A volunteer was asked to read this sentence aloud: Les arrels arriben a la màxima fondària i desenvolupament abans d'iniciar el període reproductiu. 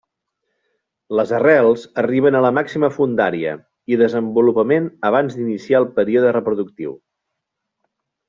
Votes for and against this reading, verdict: 2, 0, accepted